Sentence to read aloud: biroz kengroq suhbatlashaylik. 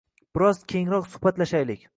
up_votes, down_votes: 2, 0